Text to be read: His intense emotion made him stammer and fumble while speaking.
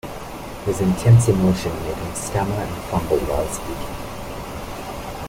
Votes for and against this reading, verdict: 2, 0, accepted